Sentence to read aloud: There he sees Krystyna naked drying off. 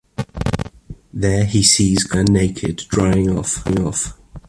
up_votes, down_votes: 0, 2